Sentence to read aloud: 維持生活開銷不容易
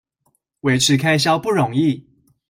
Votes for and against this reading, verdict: 0, 2, rejected